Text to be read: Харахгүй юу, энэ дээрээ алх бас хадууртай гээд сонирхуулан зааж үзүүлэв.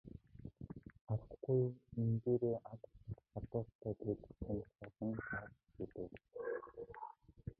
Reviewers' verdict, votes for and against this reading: rejected, 0, 2